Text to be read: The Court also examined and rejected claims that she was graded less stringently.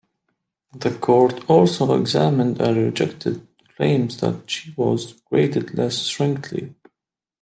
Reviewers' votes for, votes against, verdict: 0, 2, rejected